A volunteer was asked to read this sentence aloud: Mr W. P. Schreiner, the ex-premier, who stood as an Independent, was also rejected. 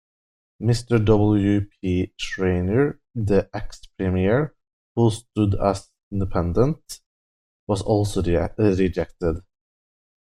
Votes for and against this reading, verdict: 1, 2, rejected